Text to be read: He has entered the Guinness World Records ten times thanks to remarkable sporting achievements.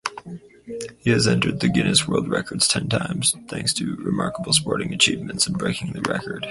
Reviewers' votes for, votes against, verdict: 4, 0, accepted